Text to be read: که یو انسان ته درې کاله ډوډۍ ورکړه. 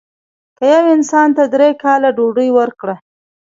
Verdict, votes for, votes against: rejected, 0, 2